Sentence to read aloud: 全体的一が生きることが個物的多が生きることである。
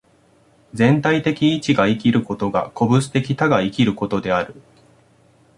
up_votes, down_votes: 2, 0